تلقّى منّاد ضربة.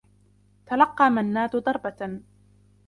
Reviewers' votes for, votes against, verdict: 2, 0, accepted